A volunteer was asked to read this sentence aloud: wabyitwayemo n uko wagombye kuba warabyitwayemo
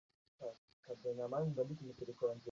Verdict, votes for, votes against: rejected, 0, 2